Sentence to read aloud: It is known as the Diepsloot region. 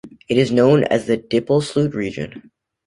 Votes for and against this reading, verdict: 0, 2, rejected